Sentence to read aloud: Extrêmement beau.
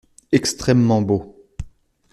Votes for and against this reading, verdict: 2, 0, accepted